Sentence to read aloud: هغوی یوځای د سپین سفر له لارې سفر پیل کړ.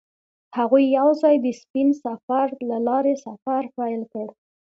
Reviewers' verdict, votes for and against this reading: accepted, 2, 0